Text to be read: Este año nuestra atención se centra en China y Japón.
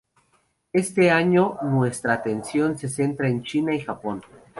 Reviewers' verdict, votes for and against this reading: accepted, 2, 0